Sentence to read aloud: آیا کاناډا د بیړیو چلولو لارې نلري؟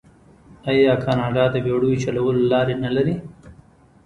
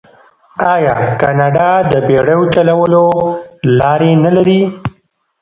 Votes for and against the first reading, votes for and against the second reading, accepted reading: 2, 1, 0, 2, first